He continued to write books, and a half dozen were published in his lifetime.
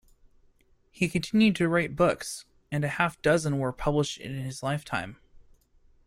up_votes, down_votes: 2, 0